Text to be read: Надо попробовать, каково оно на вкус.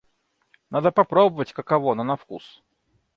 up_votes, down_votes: 2, 0